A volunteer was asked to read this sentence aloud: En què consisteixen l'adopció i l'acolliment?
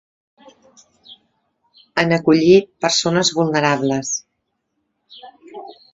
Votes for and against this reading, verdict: 1, 2, rejected